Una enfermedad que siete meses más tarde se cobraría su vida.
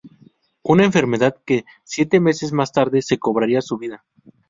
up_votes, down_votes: 4, 0